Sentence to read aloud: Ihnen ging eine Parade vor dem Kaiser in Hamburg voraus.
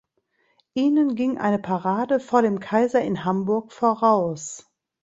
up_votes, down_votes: 2, 0